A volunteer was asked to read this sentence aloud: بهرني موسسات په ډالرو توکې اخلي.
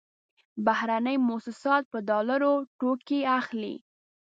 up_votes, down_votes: 2, 0